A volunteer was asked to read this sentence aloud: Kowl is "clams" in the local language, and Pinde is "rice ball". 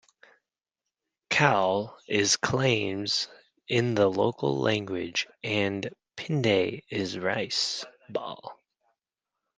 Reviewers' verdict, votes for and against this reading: rejected, 1, 2